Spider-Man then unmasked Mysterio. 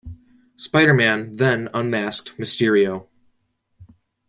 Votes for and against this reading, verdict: 2, 0, accepted